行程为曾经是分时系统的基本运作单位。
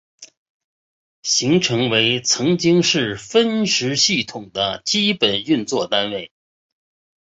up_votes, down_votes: 5, 0